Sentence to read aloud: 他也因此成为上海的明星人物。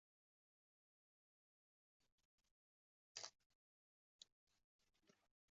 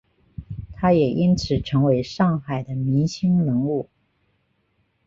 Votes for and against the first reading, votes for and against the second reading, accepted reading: 0, 2, 2, 0, second